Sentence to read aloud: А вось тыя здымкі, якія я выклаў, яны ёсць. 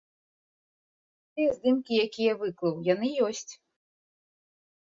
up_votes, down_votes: 1, 2